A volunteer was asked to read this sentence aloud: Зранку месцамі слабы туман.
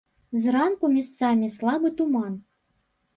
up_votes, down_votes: 1, 2